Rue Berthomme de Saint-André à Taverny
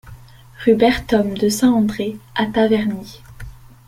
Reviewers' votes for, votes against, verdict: 0, 2, rejected